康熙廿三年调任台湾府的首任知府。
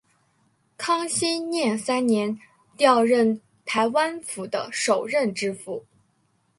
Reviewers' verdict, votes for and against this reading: accepted, 2, 0